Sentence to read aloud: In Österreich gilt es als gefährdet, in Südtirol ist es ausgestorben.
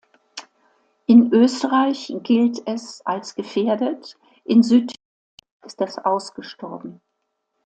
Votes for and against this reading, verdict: 1, 2, rejected